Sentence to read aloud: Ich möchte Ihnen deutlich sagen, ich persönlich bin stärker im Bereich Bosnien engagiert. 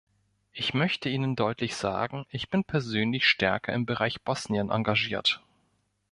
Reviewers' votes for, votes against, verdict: 1, 2, rejected